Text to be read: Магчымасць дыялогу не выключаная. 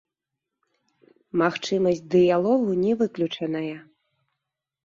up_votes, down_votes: 1, 3